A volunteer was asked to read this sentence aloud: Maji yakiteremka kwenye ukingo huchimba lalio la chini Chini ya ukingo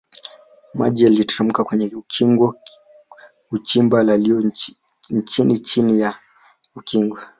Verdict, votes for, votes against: rejected, 1, 2